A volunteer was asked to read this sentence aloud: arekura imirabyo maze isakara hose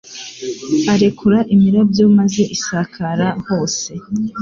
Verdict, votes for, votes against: accepted, 2, 0